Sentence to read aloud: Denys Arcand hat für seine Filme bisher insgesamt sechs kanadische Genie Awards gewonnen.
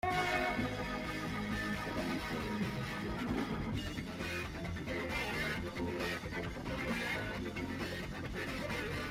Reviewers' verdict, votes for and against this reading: rejected, 0, 2